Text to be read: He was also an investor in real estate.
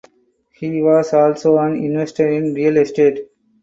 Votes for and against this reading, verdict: 4, 2, accepted